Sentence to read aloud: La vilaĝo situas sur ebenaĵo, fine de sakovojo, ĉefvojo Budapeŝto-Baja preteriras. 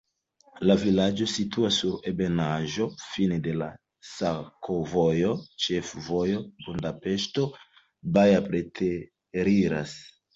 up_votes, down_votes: 2, 0